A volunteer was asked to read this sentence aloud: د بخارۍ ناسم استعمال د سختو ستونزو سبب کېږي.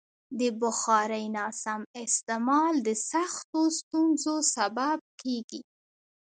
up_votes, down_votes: 1, 2